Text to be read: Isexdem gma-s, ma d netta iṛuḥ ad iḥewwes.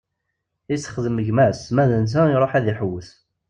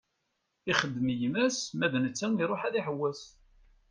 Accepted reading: first